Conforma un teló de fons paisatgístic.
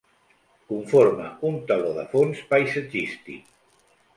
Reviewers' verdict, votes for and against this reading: accepted, 2, 0